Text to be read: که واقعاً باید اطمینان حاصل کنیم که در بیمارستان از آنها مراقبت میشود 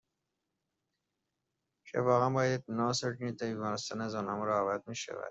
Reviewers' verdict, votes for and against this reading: rejected, 0, 2